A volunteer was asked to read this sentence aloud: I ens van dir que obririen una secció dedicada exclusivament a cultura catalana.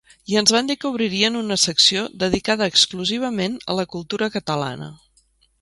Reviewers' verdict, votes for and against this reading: rejected, 0, 2